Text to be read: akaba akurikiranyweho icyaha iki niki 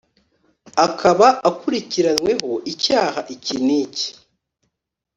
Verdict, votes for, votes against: accepted, 2, 0